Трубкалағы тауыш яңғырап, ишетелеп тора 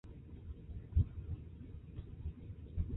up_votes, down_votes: 1, 2